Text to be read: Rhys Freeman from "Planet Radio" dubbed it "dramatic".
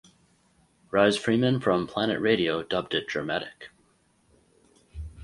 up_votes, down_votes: 4, 0